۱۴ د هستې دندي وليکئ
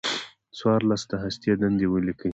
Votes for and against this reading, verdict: 0, 2, rejected